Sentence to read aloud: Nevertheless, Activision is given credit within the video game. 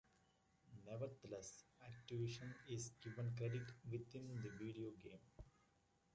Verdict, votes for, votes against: accepted, 2, 0